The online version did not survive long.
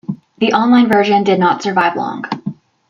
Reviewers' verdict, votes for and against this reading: rejected, 1, 2